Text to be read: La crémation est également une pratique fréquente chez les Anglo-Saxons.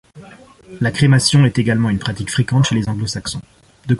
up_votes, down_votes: 2, 0